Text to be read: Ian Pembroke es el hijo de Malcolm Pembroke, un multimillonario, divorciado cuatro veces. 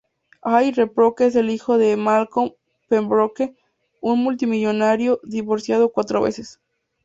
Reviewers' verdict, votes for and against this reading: rejected, 2, 2